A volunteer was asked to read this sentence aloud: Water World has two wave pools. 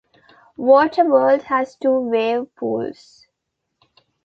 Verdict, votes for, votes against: accepted, 2, 0